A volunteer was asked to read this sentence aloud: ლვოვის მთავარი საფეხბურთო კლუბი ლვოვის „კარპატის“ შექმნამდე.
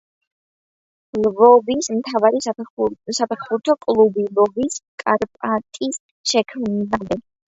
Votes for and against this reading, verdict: 0, 2, rejected